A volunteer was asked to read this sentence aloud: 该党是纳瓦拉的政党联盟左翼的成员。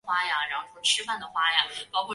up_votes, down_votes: 1, 3